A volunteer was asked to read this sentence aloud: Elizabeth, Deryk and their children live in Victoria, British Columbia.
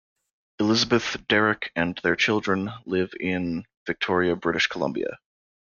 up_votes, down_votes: 2, 0